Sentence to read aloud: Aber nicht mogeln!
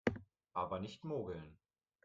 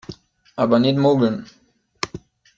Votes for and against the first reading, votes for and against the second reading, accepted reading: 2, 0, 0, 2, first